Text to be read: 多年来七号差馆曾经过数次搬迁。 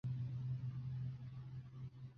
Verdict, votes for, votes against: rejected, 0, 2